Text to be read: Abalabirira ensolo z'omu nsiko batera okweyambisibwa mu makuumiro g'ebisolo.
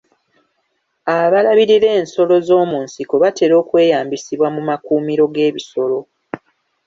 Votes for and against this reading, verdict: 3, 0, accepted